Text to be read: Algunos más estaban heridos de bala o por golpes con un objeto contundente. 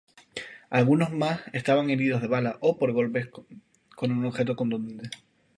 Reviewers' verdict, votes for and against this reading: rejected, 2, 2